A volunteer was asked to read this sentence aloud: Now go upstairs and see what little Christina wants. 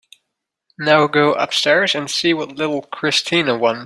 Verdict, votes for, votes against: rejected, 0, 3